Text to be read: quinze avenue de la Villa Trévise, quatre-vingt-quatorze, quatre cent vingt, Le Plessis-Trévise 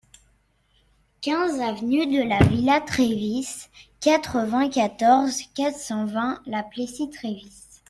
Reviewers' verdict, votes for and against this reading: rejected, 1, 2